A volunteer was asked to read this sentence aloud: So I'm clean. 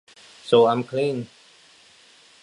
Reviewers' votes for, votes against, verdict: 2, 0, accepted